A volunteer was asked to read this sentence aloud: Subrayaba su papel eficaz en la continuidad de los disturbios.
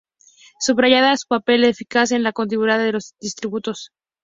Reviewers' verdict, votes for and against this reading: rejected, 0, 2